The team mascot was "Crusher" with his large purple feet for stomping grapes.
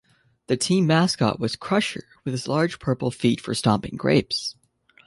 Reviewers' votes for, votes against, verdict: 2, 0, accepted